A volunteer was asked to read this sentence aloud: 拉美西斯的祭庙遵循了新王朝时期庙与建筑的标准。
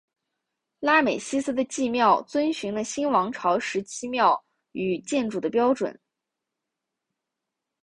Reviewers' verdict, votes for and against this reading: accepted, 4, 1